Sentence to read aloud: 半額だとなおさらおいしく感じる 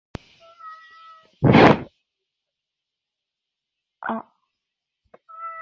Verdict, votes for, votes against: rejected, 0, 2